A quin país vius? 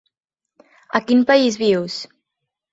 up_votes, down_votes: 3, 0